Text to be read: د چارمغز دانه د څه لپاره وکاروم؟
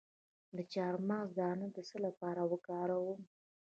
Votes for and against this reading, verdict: 2, 0, accepted